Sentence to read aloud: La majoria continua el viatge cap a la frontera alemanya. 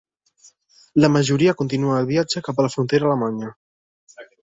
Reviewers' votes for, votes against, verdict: 3, 0, accepted